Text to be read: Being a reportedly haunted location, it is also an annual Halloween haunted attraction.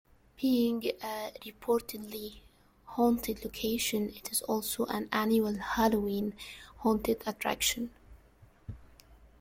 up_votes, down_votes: 0, 2